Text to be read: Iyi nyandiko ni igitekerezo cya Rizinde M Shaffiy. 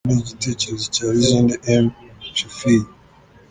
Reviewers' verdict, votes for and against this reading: rejected, 0, 2